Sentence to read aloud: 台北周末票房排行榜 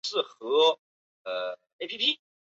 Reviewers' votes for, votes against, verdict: 0, 2, rejected